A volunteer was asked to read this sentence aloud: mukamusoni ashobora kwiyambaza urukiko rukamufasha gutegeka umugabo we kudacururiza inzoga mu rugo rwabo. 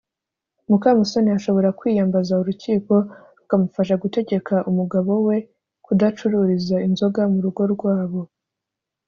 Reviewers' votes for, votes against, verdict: 2, 0, accepted